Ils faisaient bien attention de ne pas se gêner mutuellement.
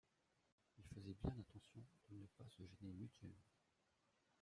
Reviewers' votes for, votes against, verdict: 0, 2, rejected